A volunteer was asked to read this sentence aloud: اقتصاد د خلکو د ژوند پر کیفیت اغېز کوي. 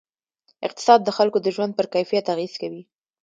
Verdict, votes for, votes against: accepted, 2, 0